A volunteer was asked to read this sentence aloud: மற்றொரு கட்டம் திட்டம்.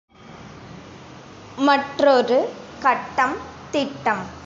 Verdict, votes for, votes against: accepted, 2, 0